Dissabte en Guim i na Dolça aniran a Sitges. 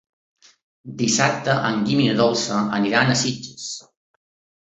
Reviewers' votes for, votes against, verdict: 3, 0, accepted